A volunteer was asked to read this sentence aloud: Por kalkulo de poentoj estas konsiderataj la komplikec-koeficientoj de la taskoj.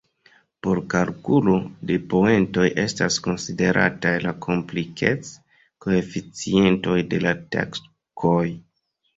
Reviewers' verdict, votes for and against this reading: rejected, 1, 2